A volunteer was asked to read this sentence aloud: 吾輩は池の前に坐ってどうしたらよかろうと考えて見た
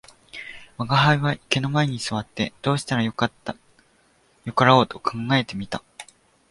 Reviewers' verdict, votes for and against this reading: rejected, 1, 2